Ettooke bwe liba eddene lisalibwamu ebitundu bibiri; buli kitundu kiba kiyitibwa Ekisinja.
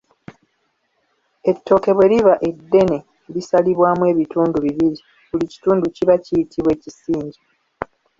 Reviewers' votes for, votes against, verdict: 2, 0, accepted